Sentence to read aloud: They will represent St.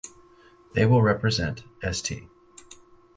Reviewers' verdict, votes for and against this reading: accepted, 4, 0